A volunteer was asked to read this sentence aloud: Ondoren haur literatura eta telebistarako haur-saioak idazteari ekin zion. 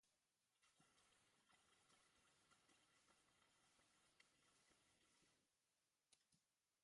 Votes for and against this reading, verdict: 1, 2, rejected